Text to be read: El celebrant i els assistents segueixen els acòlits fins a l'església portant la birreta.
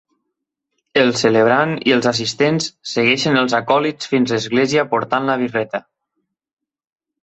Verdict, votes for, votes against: rejected, 1, 2